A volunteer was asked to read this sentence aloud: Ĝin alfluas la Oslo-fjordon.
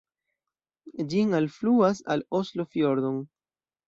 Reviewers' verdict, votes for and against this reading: rejected, 0, 2